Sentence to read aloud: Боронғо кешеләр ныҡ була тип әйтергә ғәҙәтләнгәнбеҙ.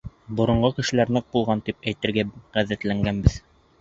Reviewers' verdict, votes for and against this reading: rejected, 0, 2